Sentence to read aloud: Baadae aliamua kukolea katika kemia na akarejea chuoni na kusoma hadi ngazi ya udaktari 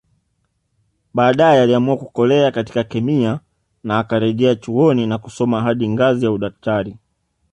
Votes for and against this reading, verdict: 2, 0, accepted